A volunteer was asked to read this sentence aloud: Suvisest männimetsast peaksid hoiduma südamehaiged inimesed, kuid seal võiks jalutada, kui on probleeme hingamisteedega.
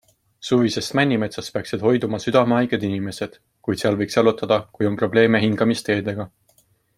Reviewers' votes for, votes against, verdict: 3, 0, accepted